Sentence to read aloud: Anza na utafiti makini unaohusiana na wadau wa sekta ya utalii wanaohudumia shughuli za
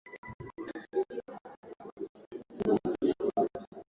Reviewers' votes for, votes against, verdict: 0, 2, rejected